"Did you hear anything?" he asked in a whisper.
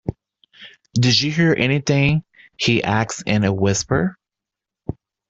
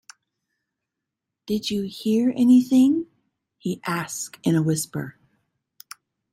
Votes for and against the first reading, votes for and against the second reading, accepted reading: 1, 2, 2, 0, second